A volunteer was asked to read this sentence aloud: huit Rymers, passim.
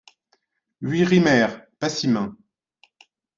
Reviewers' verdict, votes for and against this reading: accepted, 2, 1